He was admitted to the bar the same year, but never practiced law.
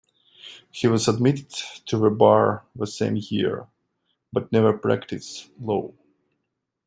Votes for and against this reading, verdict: 0, 2, rejected